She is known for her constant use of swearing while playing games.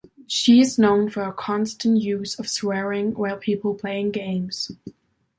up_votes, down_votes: 0, 2